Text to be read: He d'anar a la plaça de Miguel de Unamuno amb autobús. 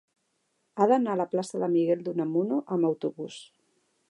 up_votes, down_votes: 1, 2